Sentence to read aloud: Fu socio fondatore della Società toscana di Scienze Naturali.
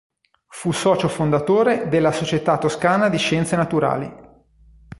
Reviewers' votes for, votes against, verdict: 2, 0, accepted